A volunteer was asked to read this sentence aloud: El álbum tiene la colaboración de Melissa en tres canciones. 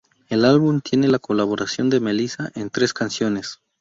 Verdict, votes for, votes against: accepted, 2, 0